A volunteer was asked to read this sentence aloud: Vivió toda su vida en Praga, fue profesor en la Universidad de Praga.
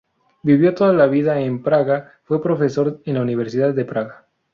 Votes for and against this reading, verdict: 0, 2, rejected